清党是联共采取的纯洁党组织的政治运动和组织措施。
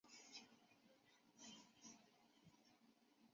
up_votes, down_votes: 0, 2